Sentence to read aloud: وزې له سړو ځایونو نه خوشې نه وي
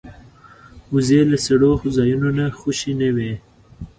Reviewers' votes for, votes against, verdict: 2, 1, accepted